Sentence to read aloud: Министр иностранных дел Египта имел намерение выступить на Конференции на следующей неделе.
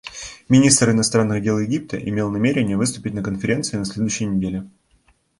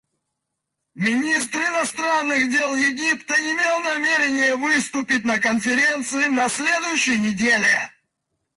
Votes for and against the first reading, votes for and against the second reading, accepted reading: 1, 2, 4, 2, second